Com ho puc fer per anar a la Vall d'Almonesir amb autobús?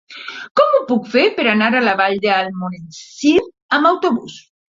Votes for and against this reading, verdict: 1, 2, rejected